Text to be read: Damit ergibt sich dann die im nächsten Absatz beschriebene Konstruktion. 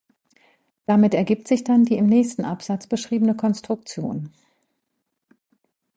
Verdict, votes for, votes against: accepted, 2, 0